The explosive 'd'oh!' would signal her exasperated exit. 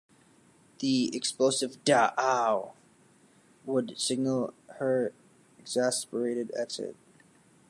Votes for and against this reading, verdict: 1, 2, rejected